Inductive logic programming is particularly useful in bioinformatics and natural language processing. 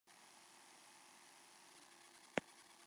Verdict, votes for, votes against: rejected, 0, 3